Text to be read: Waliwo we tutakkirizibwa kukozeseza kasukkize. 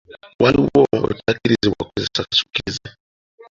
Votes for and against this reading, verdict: 1, 2, rejected